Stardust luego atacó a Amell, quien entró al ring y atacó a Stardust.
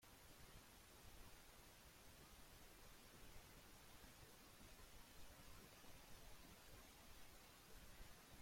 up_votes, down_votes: 0, 2